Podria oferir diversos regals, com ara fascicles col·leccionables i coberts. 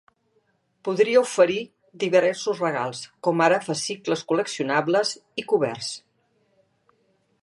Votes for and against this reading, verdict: 0, 2, rejected